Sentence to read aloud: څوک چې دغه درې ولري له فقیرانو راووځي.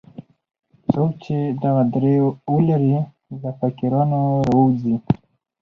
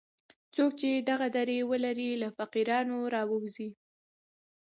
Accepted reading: second